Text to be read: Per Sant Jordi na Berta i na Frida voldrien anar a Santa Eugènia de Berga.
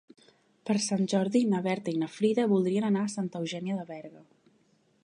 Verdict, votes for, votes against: accepted, 3, 0